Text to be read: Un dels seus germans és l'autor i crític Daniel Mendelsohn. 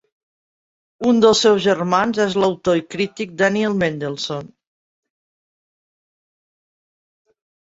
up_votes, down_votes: 2, 0